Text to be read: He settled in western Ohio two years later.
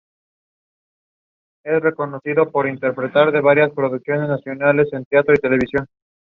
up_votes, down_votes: 0, 2